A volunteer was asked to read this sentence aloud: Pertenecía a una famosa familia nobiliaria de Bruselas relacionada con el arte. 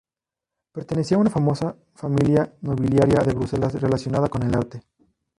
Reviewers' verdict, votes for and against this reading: rejected, 0, 2